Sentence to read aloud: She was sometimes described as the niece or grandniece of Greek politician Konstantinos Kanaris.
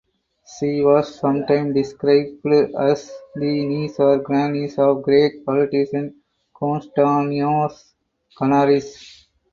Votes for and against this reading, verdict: 0, 4, rejected